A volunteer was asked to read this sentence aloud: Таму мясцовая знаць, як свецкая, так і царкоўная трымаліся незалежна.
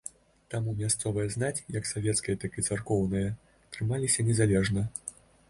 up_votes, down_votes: 0, 2